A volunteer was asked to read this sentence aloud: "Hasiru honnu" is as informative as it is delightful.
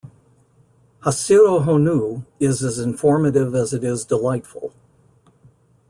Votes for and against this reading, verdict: 2, 0, accepted